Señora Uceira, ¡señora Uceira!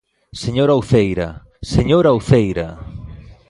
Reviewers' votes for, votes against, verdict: 2, 0, accepted